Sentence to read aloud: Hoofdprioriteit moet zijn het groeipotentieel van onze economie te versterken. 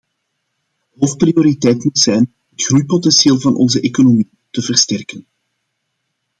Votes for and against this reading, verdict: 2, 0, accepted